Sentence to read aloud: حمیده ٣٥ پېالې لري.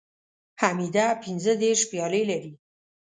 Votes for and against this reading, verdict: 0, 2, rejected